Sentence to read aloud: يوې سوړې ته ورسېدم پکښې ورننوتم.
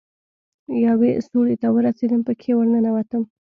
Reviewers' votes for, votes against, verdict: 2, 0, accepted